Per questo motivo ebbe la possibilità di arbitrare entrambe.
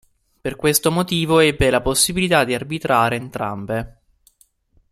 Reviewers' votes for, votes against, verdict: 2, 1, accepted